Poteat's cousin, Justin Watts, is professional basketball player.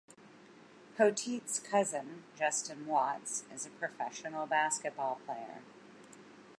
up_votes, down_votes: 2, 0